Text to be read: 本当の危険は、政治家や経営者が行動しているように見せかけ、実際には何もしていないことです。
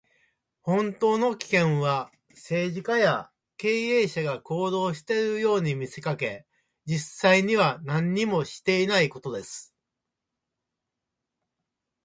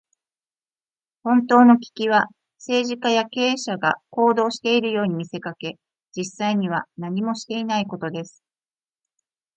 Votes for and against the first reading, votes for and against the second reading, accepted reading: 3, 2, 0, 2, first